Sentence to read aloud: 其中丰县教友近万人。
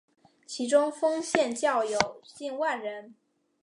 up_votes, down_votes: 6, 0